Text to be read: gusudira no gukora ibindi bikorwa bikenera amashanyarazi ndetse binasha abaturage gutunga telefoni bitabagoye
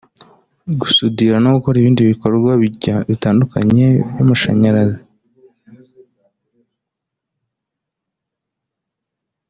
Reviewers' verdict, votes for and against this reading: rejected, 0, 2